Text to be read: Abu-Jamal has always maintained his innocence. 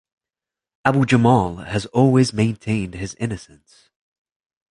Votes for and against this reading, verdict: 2, 0, accepted